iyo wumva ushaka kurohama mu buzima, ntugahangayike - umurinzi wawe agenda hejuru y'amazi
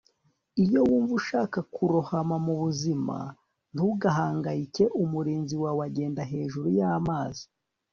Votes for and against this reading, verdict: 2, 0, accepted